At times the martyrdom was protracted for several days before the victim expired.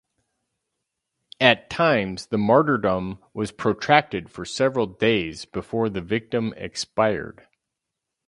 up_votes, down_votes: 4, 0